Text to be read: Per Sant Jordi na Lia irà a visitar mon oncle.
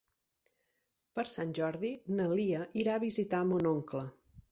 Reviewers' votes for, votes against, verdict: 6, 0, accepted